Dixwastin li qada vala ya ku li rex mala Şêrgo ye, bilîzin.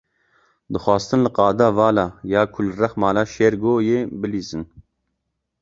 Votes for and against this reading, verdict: 2, 0, accepted